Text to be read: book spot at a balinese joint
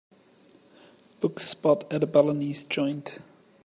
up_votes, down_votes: 2, 1